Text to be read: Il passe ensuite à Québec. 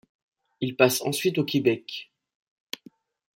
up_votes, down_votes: 0, 2